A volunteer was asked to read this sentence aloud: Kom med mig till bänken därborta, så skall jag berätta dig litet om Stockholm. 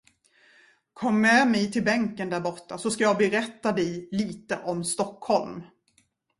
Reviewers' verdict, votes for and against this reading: accepted, 2, 0